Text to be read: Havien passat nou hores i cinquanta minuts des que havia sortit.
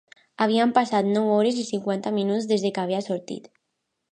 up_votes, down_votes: 0, 2